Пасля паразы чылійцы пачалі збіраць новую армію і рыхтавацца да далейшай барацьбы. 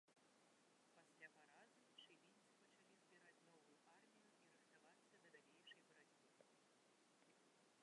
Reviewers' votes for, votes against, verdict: 0, 2, rejected